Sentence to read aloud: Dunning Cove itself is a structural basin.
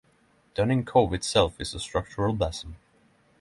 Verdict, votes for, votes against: accepted, 6, 0